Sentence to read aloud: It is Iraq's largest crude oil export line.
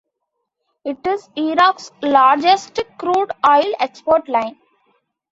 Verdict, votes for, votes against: accepted, 2, 0